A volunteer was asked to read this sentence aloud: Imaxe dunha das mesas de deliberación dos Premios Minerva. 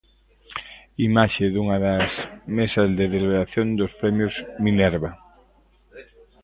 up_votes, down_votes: 1, 2